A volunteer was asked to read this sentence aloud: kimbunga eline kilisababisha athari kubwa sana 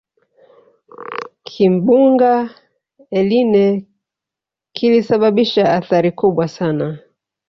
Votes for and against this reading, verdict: 2, 0, accepted